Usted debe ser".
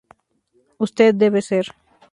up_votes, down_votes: 2, 0